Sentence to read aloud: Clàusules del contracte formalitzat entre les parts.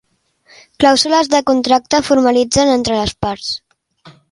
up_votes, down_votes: 1, 2